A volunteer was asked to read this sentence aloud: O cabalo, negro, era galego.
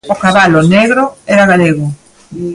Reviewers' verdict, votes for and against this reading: accepted, 2, 0